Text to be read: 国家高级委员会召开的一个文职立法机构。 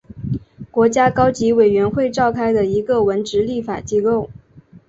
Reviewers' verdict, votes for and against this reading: accepted, 2, 0